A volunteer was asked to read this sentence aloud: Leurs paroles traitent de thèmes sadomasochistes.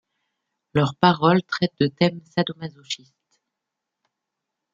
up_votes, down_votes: 1, 2